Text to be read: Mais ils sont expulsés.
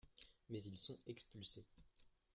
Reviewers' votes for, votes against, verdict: 0, 2, rejected